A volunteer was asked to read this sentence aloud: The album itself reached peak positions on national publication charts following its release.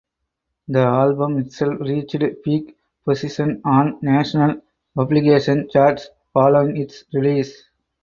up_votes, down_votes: 4, 0